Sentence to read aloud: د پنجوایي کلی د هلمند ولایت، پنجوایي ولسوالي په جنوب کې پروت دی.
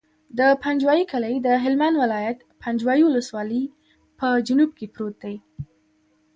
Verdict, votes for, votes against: accepted, 2, 1